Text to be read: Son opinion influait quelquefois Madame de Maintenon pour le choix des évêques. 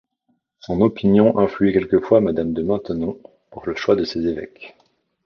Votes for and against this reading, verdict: 1, 2, rejected